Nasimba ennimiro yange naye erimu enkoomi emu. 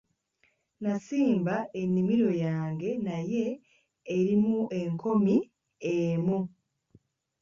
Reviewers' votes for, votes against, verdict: 1, 2, rejected